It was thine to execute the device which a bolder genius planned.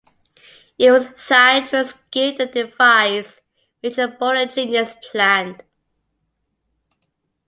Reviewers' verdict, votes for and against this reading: rejected, 0, 2